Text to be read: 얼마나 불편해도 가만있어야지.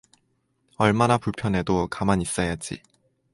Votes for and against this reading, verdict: 4, 0, accepted